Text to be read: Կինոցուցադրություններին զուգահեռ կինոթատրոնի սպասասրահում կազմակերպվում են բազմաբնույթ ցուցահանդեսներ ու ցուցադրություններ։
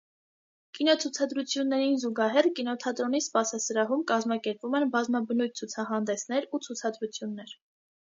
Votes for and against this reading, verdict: 2, 0, accepted